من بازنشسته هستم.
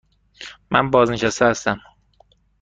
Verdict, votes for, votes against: accepted, 2, 0